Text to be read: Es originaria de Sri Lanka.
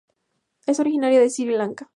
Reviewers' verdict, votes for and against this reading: accepted, 4, 0